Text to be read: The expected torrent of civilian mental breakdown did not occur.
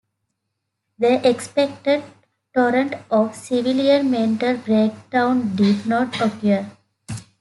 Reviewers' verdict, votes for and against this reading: accepted, 2, 0